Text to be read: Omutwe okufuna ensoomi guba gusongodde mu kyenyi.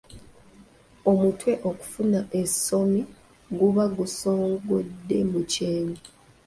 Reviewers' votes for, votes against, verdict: 2, 1, accepted